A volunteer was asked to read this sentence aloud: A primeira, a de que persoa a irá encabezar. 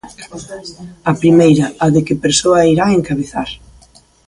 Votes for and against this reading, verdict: 2, 0, accepted